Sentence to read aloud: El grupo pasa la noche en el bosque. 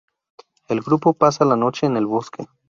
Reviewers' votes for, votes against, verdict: 2, 0, accepted